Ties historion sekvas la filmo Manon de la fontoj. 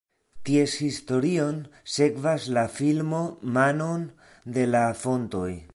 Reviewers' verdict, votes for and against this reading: accepted, 2, 0